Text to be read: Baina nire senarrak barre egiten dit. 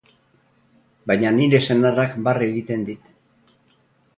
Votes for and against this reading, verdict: 0, 2, rejected